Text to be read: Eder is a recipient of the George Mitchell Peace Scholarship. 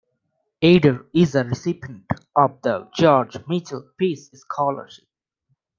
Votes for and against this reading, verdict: 2, 0, accepted